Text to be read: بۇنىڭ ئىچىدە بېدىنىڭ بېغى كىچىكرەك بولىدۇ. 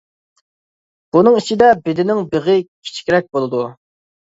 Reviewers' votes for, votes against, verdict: 2, 0, accepted